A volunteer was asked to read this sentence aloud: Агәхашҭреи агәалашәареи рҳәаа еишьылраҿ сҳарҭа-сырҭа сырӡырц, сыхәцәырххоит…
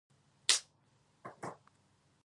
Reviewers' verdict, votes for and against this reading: rejected, 1, 2